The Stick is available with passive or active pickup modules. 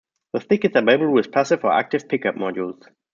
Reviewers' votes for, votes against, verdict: 2, 0, accepted